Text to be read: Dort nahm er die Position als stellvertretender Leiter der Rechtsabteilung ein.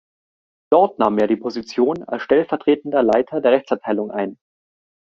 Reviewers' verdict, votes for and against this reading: accepted, 2, 0